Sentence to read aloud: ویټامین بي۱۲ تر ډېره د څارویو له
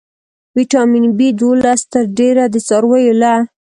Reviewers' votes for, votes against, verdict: 0, 2, rejected